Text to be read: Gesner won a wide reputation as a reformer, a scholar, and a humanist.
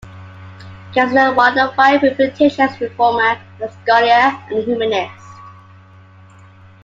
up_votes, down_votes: 0, 2